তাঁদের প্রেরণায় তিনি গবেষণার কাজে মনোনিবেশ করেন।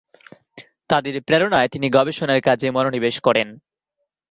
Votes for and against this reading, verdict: 0, 2, rejected